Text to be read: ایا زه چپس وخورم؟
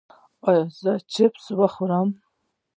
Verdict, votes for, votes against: accepted, 2, 1